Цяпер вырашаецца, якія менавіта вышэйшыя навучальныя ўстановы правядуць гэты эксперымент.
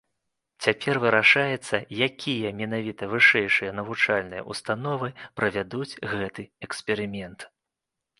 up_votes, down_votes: 2, 0